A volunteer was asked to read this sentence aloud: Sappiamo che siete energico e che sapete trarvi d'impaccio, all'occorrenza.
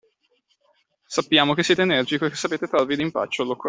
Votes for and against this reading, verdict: 0, 2, rejected